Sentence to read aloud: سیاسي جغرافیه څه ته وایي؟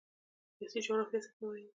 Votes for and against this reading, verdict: 2, 0, accepted